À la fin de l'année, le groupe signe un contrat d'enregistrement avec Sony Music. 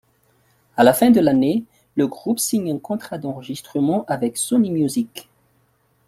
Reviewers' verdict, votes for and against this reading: accepted, 2, 0